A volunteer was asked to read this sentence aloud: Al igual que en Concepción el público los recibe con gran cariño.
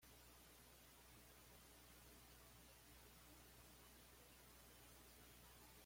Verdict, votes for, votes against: rejected, 1, 2